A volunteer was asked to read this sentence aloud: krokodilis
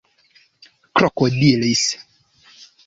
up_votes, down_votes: 2, 0